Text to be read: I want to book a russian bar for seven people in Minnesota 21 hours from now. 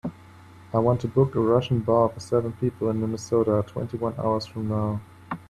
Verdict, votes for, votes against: rejected, 0, 2